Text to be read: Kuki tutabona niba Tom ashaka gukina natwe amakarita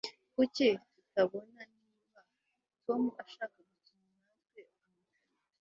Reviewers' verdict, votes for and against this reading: rejected, 1, 2